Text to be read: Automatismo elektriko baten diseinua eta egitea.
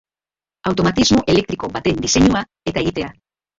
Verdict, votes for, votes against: rejected, 0, 2